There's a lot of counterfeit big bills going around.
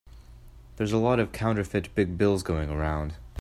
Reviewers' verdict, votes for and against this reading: accepted, 2, 0